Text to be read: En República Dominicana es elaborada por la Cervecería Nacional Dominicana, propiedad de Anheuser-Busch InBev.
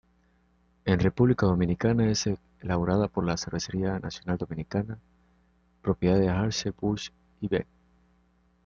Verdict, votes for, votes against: rejected, 1, 2